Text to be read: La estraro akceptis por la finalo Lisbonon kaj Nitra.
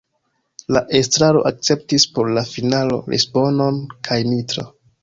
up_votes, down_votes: 1, 2